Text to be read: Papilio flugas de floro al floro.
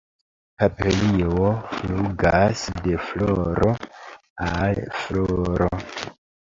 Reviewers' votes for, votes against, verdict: 2, 0, accepted